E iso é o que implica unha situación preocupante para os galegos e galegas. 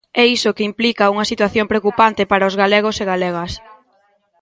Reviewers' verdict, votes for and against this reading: rejected, 0, 2